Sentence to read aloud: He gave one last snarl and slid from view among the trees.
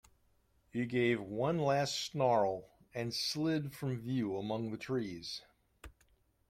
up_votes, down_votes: 2, 0